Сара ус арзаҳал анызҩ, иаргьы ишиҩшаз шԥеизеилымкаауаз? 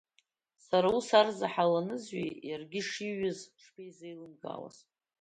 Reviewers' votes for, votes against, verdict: 1, 2, rejected